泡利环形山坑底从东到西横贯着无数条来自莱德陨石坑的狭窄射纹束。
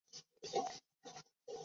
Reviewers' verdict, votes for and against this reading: rejected, 0, 2